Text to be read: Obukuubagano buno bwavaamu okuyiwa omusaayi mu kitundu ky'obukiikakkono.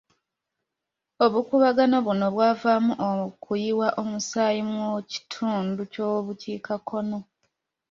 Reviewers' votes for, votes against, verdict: 2, 0, accepted